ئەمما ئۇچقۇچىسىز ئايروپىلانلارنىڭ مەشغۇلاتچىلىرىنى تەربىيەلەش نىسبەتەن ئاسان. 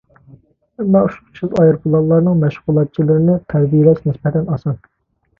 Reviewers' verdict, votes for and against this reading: rejected, 0, 2